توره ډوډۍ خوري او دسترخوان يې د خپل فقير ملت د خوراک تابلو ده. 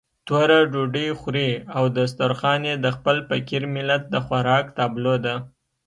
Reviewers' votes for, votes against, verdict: 2, 0, accepted